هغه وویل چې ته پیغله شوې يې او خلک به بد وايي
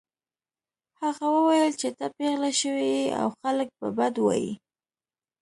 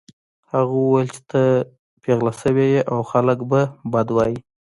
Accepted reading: first